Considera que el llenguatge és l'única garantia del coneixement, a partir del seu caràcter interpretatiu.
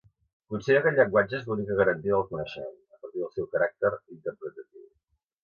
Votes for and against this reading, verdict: 2, 1, accepted